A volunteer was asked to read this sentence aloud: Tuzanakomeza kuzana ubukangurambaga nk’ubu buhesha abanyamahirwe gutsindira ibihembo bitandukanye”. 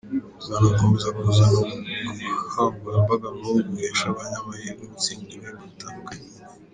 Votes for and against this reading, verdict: 2, 0, accepted